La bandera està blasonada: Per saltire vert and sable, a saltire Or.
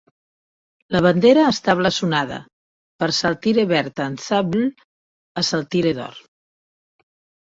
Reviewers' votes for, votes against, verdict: 1, 2, rejected